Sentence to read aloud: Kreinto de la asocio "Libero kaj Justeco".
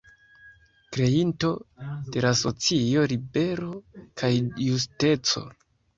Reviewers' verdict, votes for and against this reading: rejected, 1, 2